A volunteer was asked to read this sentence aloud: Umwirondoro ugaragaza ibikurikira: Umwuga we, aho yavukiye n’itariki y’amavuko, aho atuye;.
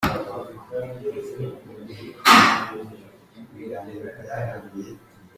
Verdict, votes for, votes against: rejected, 0, 3